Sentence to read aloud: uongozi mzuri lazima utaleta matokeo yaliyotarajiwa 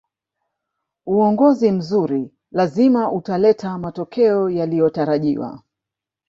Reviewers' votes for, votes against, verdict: 3, 0, accepted